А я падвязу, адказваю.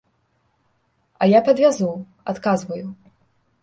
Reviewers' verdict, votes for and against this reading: accepted, 2, 0